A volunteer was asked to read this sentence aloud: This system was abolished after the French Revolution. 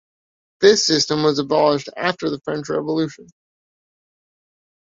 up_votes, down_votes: 2, 0